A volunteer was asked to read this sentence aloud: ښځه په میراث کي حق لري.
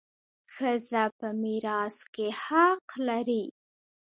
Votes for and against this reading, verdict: 0, 2, rejected